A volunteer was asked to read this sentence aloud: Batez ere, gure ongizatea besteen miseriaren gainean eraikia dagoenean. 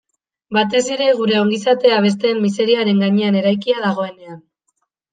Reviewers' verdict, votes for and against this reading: accepted, 2, 0